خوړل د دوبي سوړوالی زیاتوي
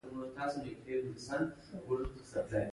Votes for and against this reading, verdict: 0, 3, rejected